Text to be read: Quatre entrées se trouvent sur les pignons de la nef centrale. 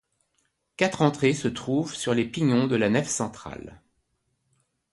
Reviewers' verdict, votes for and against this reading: accepted, 2, 0